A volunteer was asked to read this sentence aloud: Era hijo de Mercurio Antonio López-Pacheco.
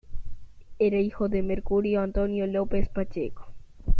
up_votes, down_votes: 2, 0